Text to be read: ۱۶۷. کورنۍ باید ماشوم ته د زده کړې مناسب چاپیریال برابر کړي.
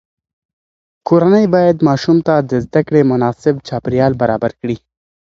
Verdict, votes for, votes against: rejected, 0, 2